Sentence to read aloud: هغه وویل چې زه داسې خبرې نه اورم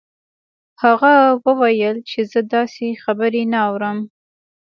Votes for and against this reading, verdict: 2, 0, accepted